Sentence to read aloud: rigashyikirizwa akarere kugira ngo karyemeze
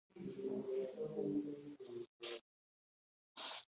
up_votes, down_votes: 1, 2